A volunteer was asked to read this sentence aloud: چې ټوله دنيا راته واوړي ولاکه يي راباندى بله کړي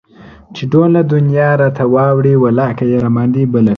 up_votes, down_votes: 0, 2